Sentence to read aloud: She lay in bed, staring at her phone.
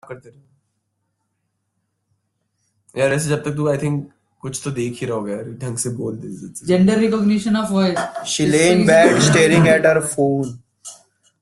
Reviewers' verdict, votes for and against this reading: rejected, 0, 2